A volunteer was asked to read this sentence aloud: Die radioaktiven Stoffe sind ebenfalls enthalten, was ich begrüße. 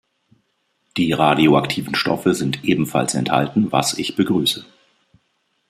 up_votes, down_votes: 1, 2